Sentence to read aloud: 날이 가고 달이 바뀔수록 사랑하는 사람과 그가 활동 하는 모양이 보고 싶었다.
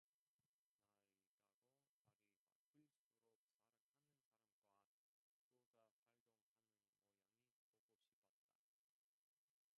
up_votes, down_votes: 0, 2